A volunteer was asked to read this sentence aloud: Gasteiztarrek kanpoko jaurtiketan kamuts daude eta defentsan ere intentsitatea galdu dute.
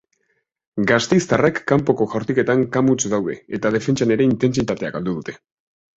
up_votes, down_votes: 2, 0